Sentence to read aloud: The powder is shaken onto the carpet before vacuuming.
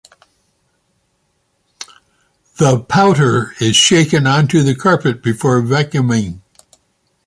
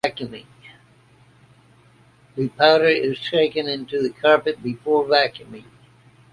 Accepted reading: first